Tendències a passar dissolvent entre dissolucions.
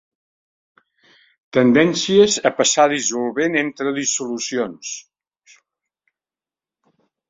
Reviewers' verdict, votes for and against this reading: accepted, 3, 0